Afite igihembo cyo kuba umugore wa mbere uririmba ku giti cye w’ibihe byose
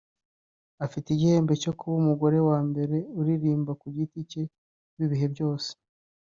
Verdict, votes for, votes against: accepted, 2, 0